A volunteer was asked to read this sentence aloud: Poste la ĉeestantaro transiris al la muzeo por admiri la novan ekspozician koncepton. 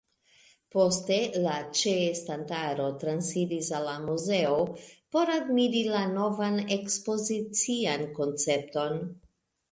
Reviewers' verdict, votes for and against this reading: accepted, 2, 1